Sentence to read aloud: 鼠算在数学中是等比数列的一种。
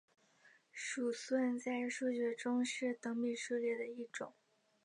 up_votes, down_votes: 3, 2